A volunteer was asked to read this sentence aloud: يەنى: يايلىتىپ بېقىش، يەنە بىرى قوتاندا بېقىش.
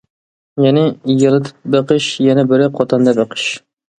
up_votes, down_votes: 2, 0